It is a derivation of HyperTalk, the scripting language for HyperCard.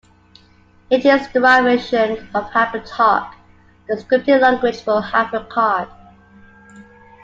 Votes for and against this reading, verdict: 2, 0, accepted